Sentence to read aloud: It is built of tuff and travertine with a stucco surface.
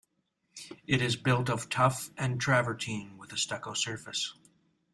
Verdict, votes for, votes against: accepted, 2, 1